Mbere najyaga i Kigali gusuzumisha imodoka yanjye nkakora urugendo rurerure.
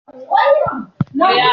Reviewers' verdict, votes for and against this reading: rejected, 0, 2